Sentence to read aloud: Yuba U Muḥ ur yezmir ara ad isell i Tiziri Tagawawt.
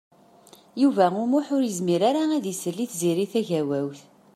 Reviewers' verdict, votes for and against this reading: accepted, 2, 0